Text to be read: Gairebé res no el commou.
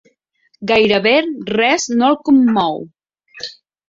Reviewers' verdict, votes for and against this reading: accepted, 4, 1